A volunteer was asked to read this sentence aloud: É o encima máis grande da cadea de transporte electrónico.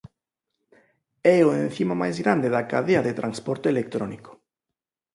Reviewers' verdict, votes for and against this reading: accepted, 2, 0